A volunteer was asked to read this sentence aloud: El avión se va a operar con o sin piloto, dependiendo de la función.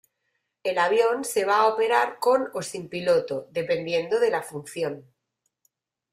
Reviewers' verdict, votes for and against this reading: accepted, 2, 0